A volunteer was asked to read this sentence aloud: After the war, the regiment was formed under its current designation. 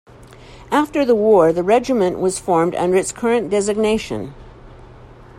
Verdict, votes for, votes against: accepted, 2, 0